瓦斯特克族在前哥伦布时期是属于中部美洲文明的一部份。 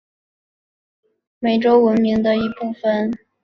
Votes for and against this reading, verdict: 2, 2, rejected